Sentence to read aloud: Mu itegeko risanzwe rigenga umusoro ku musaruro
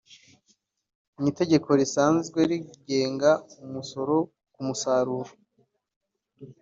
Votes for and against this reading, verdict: 2, 0, accepted